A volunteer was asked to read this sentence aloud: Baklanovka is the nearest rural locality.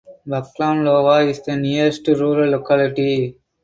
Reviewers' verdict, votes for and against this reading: rejected, 0, 4